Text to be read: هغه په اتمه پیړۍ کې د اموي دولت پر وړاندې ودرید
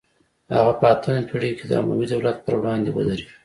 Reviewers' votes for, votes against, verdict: 2, 0, accepted